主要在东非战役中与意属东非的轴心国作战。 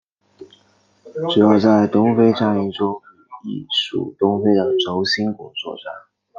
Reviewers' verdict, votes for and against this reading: rejected, 0, 2